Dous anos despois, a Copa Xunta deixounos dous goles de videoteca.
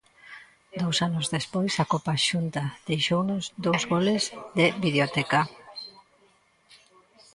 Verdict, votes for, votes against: rejected, 1, 2